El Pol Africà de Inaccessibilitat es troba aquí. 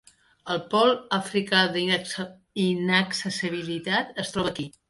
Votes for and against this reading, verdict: 2, 3, rejected